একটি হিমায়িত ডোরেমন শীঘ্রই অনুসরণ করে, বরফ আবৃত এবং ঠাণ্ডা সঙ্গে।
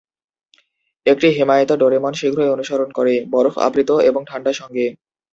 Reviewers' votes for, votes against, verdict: 3, 0, accepted